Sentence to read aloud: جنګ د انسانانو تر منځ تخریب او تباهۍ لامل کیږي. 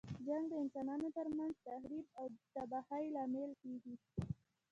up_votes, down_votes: 1, 2